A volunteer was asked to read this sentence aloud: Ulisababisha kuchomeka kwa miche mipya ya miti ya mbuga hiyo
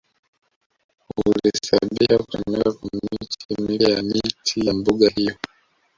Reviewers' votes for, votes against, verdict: 0, 2, rejected